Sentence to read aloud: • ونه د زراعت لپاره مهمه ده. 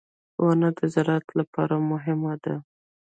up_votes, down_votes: 0, 2